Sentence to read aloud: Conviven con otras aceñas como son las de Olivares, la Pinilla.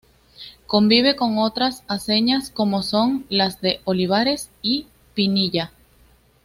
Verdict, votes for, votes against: rejected, 1, 2